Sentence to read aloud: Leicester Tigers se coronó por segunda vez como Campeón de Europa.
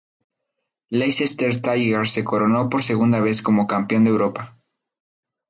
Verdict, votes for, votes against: accepted, 4, 2